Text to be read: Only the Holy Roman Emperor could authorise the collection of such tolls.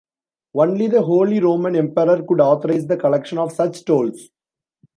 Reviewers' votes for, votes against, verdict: 2, 0, accepted